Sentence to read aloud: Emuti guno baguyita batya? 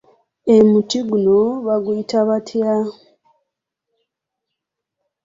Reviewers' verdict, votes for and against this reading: accepted, 2, 1